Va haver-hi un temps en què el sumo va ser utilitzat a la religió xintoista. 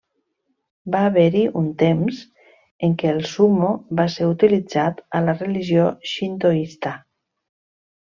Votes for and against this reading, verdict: 3, 0, accepted